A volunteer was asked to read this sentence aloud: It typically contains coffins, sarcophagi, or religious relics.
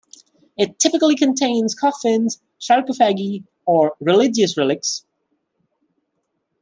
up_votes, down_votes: 2, 1